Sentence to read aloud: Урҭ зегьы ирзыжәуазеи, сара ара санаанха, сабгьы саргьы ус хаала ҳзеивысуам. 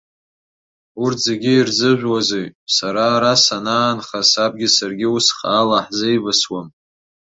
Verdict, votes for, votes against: accepted, 3, 0